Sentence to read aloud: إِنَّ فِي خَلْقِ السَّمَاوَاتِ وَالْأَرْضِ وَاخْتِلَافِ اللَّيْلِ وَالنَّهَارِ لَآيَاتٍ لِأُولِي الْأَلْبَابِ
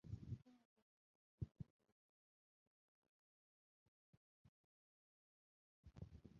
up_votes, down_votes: 0, 3